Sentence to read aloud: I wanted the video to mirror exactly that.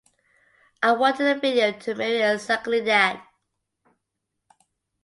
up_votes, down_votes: 2, 1